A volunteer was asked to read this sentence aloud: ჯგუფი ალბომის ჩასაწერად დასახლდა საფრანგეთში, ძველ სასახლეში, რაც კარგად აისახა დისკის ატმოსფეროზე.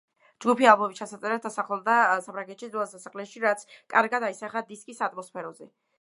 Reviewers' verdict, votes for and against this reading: rejected, 0, 2